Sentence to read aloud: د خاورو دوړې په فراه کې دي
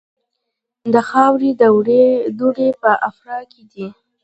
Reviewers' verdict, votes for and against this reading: rejected, 1, 2